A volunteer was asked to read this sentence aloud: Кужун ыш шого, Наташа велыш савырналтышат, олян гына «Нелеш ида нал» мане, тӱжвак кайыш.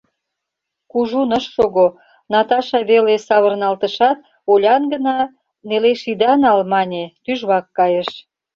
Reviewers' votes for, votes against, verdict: 0, 2, rejected